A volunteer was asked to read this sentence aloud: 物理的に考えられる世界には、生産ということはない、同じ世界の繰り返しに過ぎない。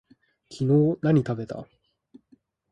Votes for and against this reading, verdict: 0, 2, rejected